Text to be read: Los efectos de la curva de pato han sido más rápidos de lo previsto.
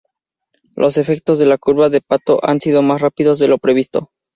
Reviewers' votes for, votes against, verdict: 6, 0, accepted